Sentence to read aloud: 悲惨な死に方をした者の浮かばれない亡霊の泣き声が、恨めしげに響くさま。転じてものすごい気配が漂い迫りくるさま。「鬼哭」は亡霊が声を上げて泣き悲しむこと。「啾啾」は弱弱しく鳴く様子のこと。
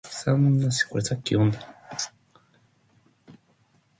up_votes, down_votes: 0, 2